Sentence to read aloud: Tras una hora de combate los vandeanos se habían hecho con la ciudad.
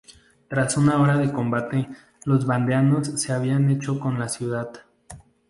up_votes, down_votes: 0, 2